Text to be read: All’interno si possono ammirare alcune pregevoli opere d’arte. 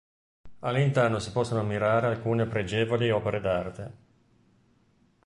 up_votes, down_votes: 2, 0